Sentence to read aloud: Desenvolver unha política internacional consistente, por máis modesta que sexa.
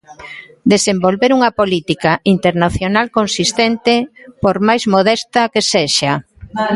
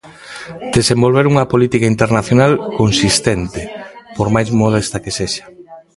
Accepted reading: first